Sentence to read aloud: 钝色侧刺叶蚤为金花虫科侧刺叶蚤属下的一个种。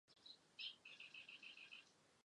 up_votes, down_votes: 0, 3